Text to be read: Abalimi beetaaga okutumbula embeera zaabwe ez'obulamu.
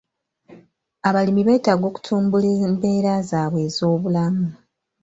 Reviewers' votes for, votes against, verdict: 1, 2, rejected